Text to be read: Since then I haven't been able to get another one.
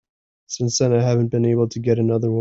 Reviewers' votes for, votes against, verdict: 0, 2, rejected